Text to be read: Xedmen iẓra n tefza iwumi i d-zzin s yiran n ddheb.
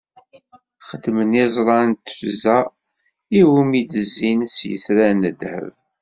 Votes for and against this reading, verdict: 0, 2, rejected